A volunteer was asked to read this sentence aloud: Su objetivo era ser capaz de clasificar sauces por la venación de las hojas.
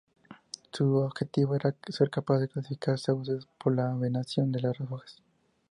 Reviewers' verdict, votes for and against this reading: accepted, 2, 0